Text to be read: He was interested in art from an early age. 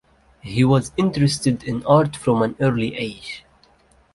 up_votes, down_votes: 2, 0